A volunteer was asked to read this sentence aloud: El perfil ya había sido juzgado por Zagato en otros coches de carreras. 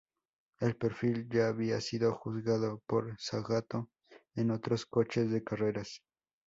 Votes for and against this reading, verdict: 0, 2, rejected